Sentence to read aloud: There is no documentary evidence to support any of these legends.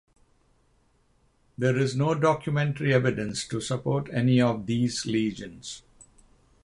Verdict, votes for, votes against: rejected, 3, 6